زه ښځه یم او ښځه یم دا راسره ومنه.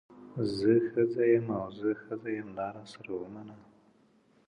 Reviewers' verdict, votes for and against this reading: accepted, 2, 0